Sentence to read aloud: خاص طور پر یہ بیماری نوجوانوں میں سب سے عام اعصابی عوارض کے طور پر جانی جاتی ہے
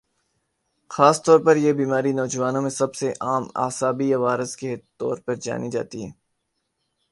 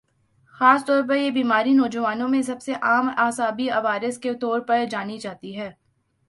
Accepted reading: first